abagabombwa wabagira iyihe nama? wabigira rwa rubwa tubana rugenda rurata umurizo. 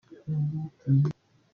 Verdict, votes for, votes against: rejected, 0, 2